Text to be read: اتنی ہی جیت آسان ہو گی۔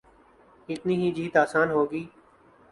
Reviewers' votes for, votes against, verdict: 13, 1, accepted